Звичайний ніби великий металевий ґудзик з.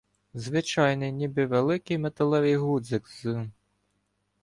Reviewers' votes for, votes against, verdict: 1, 2, rejected